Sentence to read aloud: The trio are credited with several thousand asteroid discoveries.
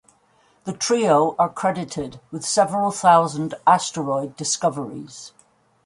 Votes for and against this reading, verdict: 2, 0, accepted